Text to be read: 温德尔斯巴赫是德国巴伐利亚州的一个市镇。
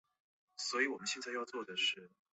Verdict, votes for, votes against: rejected, 0, 2